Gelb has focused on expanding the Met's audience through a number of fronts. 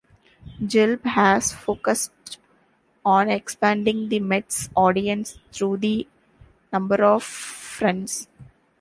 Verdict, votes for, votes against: rejected, 1, 2